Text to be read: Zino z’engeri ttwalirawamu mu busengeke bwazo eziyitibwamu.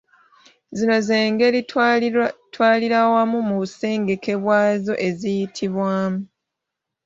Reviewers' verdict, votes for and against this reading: rejected, 0, 3